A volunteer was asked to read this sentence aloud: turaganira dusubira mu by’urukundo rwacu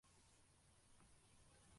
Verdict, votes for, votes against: rejected, 0, 2